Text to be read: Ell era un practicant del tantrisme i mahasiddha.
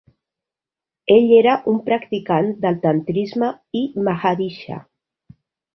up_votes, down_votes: 0, 2